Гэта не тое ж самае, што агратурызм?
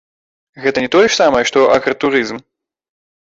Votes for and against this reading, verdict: 1, 3, rejected